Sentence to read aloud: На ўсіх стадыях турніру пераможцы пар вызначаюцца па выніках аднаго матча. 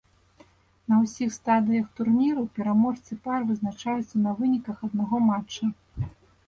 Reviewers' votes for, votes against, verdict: 0, 2, rejected